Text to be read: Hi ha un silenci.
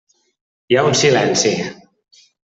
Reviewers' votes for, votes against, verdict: 3, 0, accepted